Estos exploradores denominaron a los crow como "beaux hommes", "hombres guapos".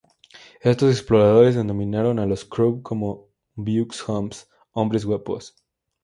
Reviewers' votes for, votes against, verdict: 2, 0, accepted